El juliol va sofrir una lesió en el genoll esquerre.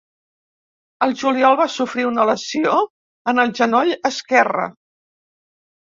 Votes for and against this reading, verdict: 2, 1, accepted